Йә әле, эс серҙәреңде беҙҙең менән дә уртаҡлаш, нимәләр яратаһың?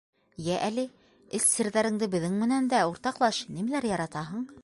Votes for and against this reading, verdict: 2, 0, accepted